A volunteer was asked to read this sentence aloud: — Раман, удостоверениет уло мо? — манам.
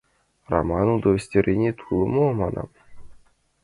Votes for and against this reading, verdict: 2, 1, accepted